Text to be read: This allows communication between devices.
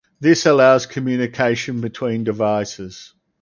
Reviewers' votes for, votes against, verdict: 4, 0, accepted